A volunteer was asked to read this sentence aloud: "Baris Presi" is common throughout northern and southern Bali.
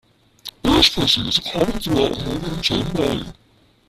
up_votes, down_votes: 0, 2